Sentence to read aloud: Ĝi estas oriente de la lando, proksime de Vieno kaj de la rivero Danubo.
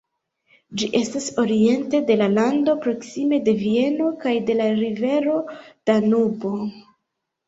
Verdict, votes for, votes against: accepted, 2, 0